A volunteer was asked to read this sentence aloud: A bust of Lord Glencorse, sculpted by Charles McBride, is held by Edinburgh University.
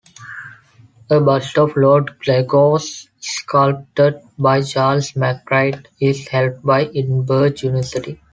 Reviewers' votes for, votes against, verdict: 2, 0, accepted